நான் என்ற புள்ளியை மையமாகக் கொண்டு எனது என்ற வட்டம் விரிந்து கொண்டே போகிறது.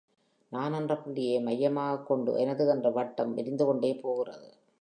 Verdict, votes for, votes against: accepted, 3, 0